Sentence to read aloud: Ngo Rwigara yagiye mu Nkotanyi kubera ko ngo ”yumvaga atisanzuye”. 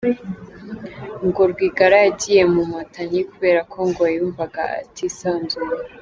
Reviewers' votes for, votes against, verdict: 3, 0, accepted